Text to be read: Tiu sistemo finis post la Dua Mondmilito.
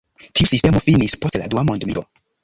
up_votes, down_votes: 1, 2